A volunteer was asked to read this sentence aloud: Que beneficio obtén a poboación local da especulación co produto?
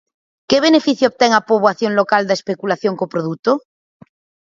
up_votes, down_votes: 4, 0